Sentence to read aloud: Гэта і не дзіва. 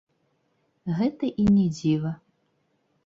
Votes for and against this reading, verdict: 0, 3, rejected